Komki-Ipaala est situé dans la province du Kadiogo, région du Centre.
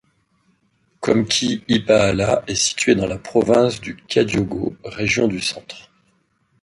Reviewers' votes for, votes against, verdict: 2, 0, accepted